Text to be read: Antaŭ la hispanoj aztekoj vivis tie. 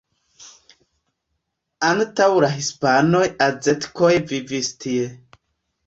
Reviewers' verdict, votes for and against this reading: rejected, 0, 2